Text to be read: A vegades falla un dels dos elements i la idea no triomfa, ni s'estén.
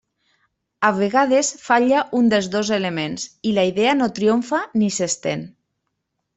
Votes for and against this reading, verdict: 3, 0, accepted